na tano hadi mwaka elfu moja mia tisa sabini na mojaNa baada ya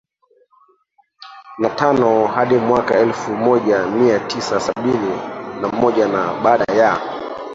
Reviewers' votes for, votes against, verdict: 0, 2, rejected